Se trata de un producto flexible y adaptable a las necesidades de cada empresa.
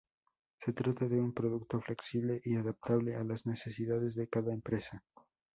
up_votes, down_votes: 4, 0